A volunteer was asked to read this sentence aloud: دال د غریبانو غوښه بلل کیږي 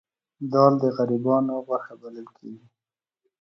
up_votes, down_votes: 2, 0